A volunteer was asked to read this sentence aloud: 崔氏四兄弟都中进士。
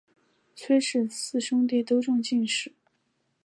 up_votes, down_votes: 3, 0